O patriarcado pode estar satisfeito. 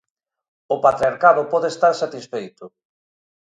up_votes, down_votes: 2, 0